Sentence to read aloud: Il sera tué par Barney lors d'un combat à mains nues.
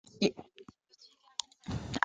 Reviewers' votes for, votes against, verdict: 0, 2, rejected